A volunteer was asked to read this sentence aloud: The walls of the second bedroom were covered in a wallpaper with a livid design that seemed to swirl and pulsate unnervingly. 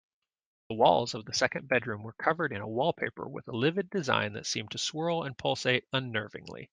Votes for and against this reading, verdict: 2, 0, accepted